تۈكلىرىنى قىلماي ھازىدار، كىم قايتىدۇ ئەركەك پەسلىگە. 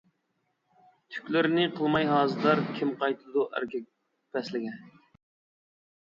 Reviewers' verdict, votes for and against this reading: rejected, 1, 2